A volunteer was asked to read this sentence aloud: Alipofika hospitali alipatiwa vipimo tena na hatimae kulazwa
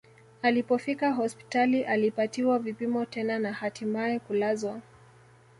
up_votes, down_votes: 2, 0